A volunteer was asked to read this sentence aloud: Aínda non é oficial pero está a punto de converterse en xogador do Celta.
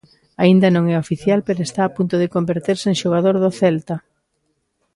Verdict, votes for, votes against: accepted, 3, 0